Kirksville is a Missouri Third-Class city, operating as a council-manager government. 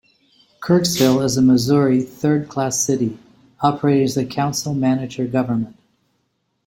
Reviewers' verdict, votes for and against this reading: accepted, 2, 0